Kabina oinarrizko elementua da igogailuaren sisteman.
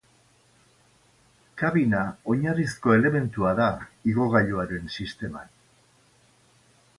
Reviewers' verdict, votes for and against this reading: accepted, 4, 0